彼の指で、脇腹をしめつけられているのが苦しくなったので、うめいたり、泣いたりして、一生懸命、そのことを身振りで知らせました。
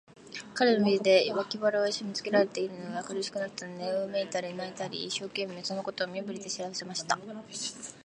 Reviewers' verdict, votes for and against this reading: rejected, 0, 2